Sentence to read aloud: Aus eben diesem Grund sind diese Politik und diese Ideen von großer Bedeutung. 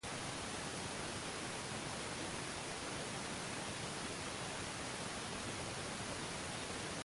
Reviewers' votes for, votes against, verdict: 0, 2, rejected